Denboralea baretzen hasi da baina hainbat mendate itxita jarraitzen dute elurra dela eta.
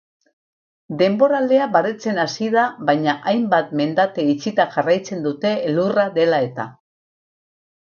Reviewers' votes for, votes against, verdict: 6, 2, accepted